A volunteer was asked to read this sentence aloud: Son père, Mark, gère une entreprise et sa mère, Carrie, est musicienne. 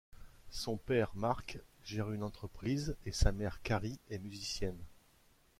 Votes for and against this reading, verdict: 2, 0, accepted